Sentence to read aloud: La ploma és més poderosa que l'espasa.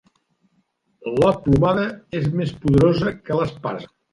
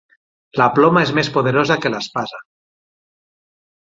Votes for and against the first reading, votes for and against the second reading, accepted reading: 1, 2, 12, 0, second